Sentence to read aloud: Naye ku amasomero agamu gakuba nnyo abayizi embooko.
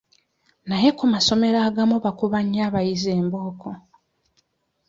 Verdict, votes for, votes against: rejected, 0, 2